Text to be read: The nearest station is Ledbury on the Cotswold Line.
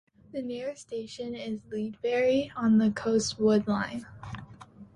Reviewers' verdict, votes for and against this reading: rejected, 0, 2